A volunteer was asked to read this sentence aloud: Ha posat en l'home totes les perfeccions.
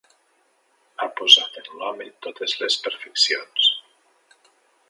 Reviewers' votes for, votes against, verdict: 4, 1, accepted